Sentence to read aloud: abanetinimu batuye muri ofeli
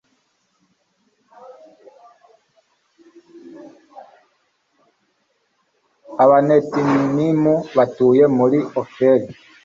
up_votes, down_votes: 1, 2